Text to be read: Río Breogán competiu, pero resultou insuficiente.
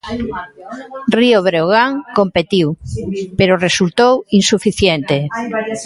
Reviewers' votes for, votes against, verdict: 1, 2, rejected